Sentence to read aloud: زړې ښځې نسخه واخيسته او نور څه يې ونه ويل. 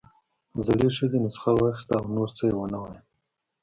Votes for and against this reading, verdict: 2, 0, accepted